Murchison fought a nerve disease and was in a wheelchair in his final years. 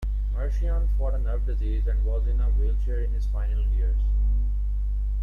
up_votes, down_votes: 0, 2